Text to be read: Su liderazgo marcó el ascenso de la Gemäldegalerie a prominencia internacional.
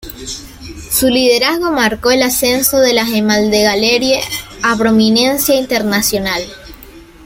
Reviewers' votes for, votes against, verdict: 0, 2, rejected